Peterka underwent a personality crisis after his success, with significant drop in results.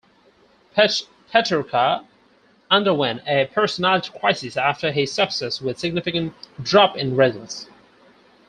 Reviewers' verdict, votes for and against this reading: rejected, 0, 4